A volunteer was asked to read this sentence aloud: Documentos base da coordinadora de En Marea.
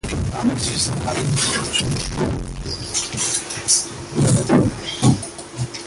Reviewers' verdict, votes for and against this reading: rejected, 0, 2